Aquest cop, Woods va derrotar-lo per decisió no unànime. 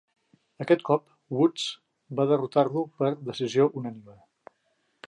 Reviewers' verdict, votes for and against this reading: rejected, 0, 2